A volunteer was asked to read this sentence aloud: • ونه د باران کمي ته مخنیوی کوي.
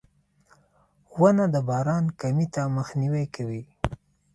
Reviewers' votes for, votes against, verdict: 2, 0, accepted